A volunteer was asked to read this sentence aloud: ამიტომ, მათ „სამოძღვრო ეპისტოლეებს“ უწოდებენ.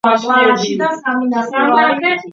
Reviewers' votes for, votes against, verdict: 0, 2, rejected